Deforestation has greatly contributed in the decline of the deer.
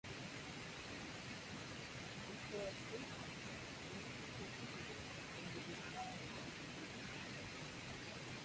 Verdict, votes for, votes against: rejected, 0, 2